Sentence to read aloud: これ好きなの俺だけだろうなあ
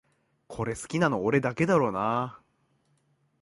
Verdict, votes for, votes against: accepted, 2, 0